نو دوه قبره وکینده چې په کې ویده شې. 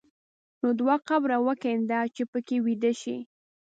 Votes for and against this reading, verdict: 2, 0, accepted